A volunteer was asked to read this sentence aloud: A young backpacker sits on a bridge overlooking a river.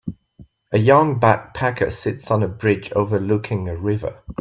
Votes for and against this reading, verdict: 2, 0, accepted